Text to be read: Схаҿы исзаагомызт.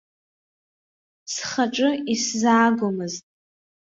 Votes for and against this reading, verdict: 2, 0, accepted